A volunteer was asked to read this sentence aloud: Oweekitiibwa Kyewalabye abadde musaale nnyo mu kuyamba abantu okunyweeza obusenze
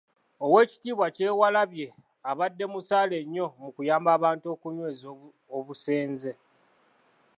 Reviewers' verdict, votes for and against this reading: rejected, 1, 2